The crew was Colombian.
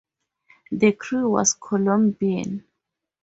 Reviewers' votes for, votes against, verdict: 2, 0, accepted